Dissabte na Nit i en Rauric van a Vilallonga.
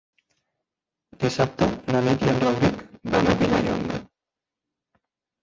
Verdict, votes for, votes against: rejected, 0, 2